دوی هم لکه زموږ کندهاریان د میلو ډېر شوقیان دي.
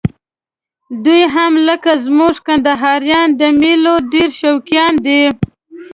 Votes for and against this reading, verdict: 1, 2, rejected